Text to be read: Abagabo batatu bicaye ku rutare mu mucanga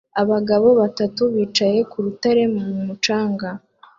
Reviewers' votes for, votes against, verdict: 2, 0, accepted